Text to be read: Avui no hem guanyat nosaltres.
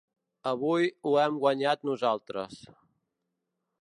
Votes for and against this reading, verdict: 1, 2, rejected